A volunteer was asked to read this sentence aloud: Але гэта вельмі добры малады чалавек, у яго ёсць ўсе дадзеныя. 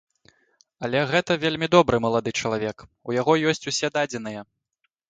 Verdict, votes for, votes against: accepted, 2, 0